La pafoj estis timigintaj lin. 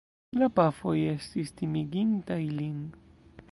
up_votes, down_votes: 2, 0